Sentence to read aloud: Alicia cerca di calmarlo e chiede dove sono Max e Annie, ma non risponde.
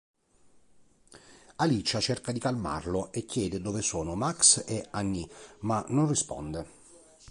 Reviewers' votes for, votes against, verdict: 3, 0, accepted